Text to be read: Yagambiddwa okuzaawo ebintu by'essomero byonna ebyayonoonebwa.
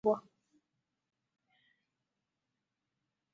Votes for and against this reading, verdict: 0, 2, rejected